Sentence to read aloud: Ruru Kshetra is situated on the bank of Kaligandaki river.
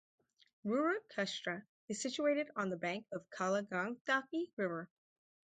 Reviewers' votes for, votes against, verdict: 0, 2, rejected